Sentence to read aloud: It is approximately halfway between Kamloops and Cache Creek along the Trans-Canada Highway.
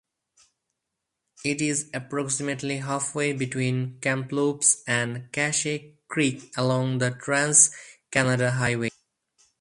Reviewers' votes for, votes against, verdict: 6, 8, rejected